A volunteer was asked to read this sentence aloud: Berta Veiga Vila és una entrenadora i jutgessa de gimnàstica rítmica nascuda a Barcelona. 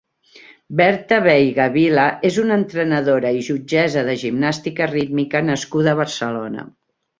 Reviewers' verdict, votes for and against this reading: accepted, 2, 0